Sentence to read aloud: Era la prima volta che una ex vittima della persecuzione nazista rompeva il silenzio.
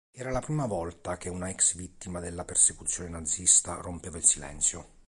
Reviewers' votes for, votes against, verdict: 2, 0, accepted